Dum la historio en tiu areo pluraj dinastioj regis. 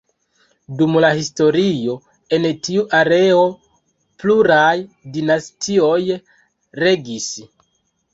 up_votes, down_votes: 2, 1